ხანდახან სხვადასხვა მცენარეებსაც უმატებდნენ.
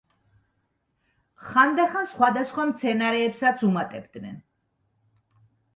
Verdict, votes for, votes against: accepted, 2, 0